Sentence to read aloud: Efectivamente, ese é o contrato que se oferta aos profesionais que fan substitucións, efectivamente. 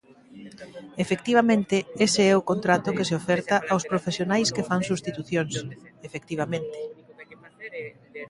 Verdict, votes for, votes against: accepted, 2, 0